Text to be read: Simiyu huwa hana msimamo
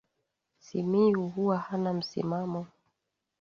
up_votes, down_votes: 5, 2